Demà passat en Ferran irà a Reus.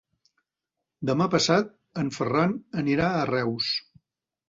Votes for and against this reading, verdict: 0, 2, rejected